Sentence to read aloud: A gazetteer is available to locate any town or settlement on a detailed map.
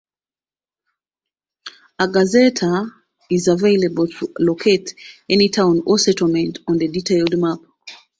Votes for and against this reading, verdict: 0, 2, rejected